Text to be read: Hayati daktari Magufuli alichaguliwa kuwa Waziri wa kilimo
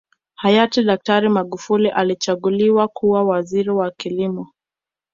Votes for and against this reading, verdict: 2, 0, accepted